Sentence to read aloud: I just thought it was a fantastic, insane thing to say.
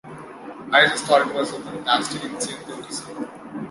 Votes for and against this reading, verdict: 2, 1, accepted